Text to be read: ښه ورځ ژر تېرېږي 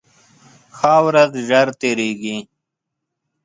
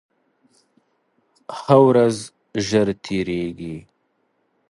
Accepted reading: second